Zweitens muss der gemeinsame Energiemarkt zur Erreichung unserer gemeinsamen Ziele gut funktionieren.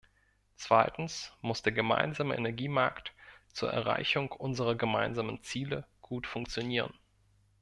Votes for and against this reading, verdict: 2, 0, accepted